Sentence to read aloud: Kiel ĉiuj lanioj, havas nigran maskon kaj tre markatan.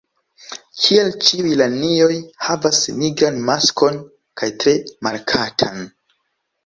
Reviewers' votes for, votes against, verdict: 0, 2, rejected